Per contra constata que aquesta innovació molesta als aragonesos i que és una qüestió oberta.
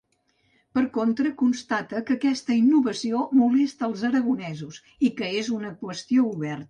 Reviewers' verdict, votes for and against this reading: rejected, 1, 2